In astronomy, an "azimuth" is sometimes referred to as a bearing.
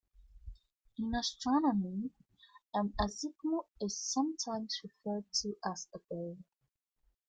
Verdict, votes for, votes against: accepted, 2, 0